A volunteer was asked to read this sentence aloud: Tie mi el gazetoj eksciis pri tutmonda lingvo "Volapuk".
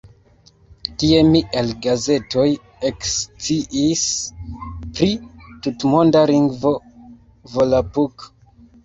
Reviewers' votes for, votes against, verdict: 0, 2, rejected